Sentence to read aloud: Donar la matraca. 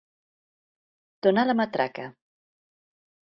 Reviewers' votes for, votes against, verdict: 2, 0, accepted